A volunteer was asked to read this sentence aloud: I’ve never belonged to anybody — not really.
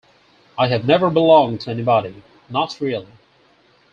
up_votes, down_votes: 4, 0